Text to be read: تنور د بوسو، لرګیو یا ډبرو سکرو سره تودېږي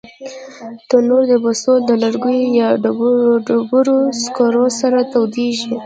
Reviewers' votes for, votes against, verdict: 1, 2, rejected